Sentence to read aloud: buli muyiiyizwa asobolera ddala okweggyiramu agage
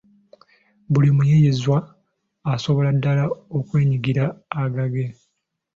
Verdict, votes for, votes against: accepted, 2, 0